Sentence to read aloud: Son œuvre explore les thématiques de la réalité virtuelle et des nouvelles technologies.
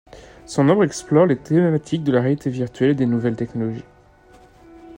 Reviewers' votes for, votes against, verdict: 0, 2, rejected